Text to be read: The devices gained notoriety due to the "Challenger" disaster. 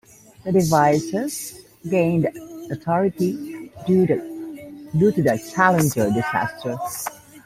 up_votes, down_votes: 1, 2